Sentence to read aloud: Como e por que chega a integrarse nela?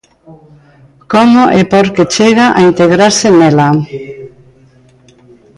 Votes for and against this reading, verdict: 1, 2, rejected